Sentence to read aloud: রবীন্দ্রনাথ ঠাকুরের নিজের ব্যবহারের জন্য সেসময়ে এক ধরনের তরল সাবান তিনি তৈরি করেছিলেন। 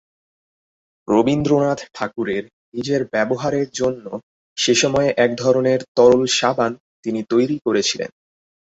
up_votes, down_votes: 2, 0